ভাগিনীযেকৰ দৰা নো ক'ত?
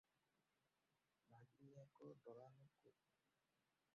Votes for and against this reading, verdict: 0, 2, rejected